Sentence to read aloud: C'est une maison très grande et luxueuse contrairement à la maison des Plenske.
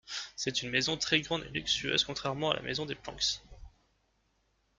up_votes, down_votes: 1, 2